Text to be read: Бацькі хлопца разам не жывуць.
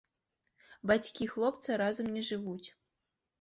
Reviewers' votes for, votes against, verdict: 2, 0, accepted